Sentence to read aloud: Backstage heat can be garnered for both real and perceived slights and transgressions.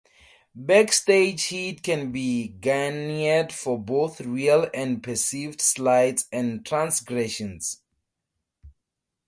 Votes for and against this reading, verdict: 2, 0, accepted